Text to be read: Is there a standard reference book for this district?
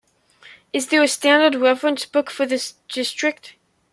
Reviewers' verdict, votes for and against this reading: accepted, 2, 0